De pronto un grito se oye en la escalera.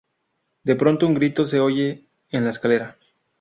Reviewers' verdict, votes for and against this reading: accepted, 2, 0